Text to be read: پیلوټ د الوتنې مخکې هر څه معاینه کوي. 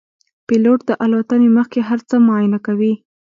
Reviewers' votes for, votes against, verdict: 1, 2, rejected